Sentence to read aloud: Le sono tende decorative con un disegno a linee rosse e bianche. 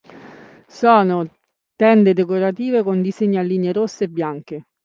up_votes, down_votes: 0, 2